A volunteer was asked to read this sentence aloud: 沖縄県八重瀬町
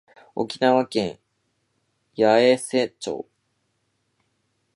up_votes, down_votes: 2, 0